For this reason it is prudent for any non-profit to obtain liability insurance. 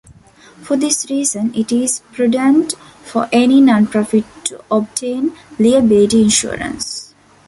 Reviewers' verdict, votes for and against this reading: rejected, 1, 2